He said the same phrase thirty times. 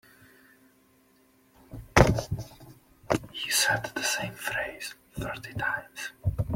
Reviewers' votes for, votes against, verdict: 1, 2, rejected